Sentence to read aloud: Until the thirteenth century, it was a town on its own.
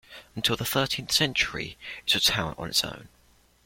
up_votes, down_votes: 2, 0